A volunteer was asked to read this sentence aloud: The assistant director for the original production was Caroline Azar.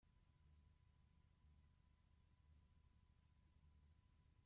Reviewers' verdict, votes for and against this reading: rejected, 0, 2